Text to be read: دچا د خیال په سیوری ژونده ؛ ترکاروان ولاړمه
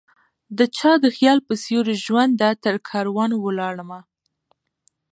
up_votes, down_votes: 1, 2